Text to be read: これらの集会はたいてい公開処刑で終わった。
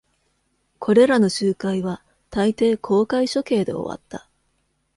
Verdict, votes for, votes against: accepted, 2, 0